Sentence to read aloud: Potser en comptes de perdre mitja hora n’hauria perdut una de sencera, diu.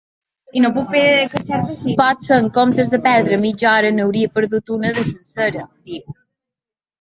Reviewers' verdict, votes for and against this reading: rejected, 1, 2